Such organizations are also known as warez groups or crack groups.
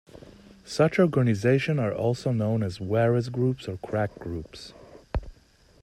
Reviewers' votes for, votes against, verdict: 1, 2, rejected